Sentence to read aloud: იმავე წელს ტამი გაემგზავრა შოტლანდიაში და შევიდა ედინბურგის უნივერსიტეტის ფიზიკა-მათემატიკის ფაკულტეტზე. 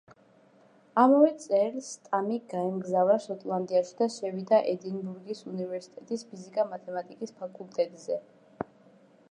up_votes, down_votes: 0, 2